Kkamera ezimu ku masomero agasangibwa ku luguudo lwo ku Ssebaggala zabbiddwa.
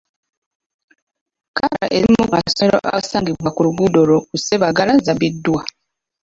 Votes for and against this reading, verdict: 1, 2, rejected